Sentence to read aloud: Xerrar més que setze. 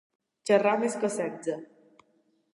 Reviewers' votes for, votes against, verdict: 2, 0, accepted